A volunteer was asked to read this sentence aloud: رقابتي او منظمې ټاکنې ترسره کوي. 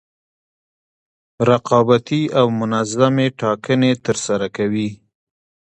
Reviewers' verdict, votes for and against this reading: accepted, 2, 0